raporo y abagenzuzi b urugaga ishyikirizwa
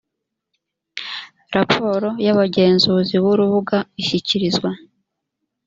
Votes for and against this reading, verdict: 1, 2, rejected